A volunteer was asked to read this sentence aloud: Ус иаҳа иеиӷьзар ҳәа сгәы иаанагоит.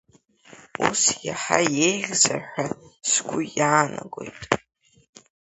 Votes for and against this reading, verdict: 2, 0, accepted